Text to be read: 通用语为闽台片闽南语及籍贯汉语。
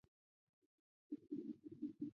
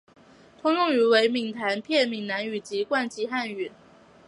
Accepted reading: second